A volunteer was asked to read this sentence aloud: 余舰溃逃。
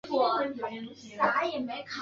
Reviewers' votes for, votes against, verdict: 0, 2, rejected